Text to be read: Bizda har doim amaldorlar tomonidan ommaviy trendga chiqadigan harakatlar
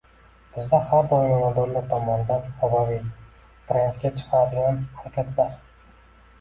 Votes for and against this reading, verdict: 2, 1, accepted